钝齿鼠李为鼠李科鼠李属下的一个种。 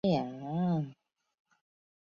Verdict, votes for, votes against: rejected, 0, 2